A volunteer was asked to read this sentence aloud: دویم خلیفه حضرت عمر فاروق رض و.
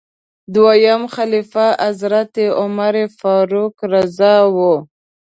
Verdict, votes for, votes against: rejected, 1, 2